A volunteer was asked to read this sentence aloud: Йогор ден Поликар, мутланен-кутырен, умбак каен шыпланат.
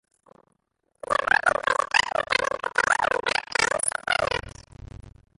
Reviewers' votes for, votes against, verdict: 0, 2, rejected